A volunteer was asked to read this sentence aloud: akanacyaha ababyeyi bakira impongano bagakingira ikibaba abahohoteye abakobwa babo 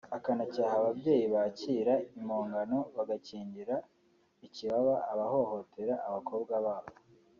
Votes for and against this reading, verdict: 2, 0, accepted